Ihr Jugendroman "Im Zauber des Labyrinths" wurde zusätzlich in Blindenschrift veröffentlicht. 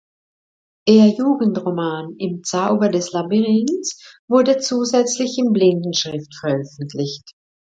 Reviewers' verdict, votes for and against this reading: accepted, 2, 0